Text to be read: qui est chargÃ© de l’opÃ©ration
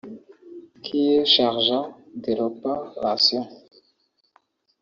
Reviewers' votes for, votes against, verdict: 0, 2, rejected